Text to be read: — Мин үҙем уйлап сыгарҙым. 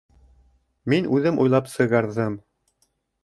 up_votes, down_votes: 0, 2